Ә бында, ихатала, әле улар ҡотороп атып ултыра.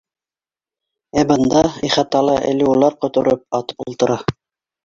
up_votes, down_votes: 2, 1